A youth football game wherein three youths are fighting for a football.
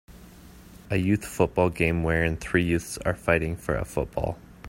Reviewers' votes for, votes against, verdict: 2, 1, accepted